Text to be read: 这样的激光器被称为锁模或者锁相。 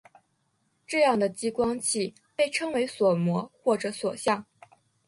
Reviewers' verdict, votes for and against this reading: accepted, 2, 0